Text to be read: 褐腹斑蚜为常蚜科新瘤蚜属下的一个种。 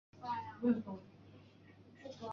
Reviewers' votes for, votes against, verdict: 0, 2, rejected